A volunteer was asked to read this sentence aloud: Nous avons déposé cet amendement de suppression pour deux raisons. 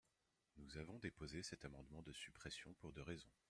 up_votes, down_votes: 1, 2